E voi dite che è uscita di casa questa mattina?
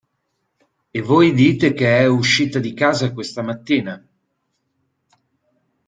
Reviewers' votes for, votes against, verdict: 2, 0, accepted